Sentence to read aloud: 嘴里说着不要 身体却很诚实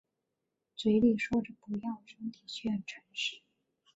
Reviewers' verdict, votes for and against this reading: rejected, 2, 2